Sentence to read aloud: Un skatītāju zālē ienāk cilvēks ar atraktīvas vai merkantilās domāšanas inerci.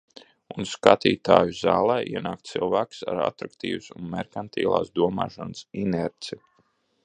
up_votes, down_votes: 2, 1